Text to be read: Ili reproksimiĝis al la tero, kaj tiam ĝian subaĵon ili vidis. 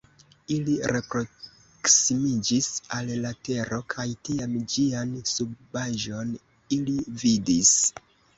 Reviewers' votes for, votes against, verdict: 1, 2, rejected